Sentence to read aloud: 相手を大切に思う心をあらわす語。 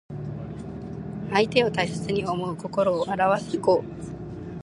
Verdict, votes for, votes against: accepted, 3, 0